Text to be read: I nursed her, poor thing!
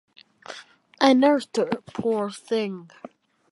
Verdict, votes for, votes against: accepted, 2, 0